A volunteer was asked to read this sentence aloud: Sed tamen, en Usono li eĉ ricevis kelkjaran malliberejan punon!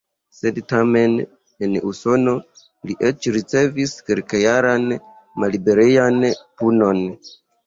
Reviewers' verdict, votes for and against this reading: rejected, 0, 2